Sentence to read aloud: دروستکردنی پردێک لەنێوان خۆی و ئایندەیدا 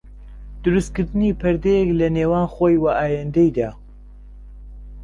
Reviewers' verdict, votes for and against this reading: rejected, 0, 2